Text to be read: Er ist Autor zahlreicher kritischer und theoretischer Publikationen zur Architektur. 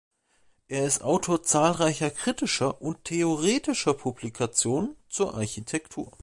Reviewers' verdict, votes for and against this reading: accepted, 2, 0